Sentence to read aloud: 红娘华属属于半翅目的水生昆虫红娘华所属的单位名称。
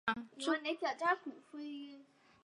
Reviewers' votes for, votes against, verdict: 0, 4, rejected